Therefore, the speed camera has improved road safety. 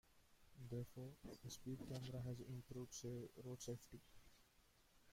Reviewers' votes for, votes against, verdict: 0, 2, rejected